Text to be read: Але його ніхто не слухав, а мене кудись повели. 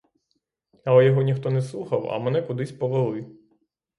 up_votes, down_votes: 3, 3